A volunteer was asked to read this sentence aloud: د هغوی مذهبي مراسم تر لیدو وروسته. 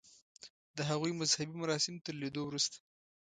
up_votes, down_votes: 2, 0